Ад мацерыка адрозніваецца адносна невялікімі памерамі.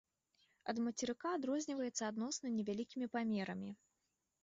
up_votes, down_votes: 2, 0